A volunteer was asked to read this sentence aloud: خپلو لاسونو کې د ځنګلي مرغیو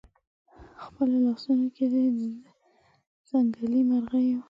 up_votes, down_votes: 2, 1